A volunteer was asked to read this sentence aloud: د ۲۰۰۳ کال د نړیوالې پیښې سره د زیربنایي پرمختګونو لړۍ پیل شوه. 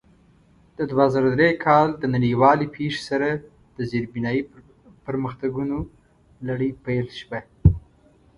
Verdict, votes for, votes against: rejected, 0, 2